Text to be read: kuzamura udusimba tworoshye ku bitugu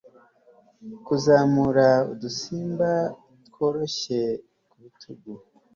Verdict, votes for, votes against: accepted, 3, 0